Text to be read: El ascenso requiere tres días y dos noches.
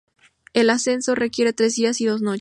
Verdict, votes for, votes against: rejected, 0, 2